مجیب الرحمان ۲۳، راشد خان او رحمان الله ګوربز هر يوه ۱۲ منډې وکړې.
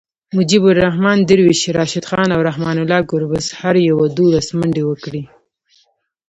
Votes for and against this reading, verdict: 0, 2, rejected